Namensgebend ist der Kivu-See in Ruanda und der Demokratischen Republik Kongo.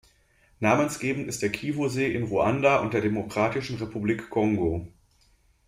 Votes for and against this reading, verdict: 2, 0, accepted